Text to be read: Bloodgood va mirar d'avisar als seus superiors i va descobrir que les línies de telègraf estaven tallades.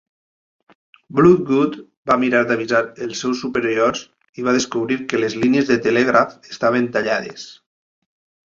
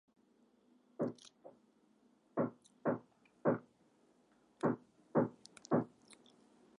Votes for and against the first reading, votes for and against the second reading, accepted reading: 2, 0, 1, 2, first